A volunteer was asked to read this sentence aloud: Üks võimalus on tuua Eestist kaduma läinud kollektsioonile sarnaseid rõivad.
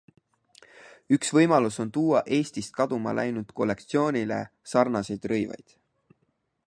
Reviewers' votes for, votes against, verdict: 4, 2, accepted